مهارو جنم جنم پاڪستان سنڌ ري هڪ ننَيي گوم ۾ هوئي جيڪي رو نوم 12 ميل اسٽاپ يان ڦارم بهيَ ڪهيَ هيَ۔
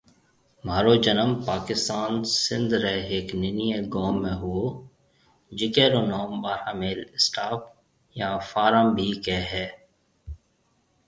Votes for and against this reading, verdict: 0, 2, rejected